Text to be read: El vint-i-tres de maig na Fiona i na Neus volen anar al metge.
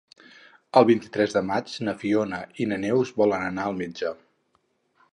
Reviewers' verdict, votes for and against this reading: accepted, 4, 0